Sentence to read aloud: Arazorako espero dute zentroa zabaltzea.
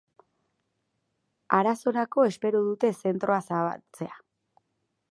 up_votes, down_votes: 4, 0